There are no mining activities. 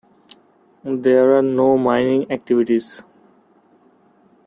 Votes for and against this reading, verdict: 2, 0, accepted